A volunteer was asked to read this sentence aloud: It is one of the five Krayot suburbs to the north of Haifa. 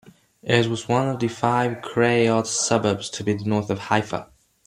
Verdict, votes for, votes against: accepted, 2, 1